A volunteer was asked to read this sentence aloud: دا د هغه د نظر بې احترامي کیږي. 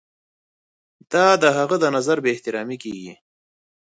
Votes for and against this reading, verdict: 2, 0, accepted